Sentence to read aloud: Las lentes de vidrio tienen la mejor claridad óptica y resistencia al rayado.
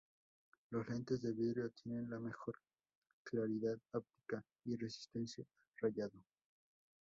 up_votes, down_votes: 0, 2